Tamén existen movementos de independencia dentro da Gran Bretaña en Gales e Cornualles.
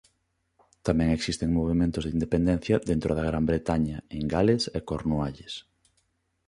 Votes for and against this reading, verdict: 2, 0, accepted